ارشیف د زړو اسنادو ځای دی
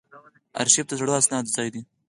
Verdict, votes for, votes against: accepted, 4, 0